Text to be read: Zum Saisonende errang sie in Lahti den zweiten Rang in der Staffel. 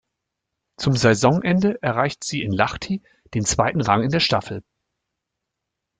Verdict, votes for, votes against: rejected, 0, 2